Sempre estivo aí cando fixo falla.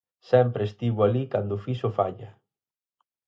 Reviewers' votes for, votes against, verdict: 2, 4, rejected